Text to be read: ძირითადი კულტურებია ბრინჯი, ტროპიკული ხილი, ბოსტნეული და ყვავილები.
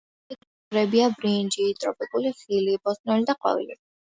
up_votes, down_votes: 0, 2